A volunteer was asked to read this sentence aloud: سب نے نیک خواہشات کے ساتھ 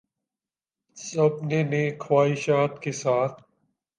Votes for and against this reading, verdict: 3, 1, accepted